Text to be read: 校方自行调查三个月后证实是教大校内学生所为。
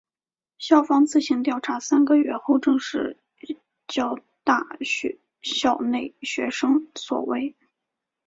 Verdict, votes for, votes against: rejected, 1, 2